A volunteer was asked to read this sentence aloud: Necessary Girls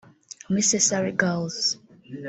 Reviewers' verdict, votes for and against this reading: rejected, 2, 3